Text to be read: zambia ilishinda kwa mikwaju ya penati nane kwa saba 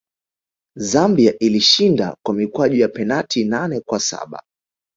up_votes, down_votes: 0, 2